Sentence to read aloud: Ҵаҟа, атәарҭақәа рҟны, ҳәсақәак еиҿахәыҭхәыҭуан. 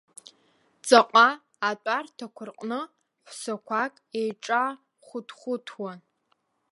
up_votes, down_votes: 1, 2